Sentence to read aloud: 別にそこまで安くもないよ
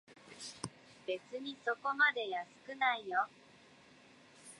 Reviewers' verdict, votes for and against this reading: rejected, 0, 2